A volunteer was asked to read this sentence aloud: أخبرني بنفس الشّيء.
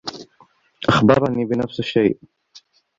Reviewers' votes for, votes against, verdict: 2, 1, accepted